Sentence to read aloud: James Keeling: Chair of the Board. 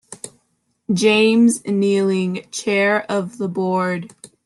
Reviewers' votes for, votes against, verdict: 1, 2, rejected